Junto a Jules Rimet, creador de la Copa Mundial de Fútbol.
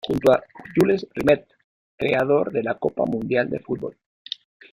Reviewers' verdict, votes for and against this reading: accepted, 2, 1